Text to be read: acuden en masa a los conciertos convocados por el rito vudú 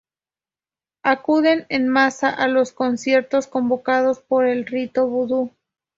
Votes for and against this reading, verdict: 2, 0, accepted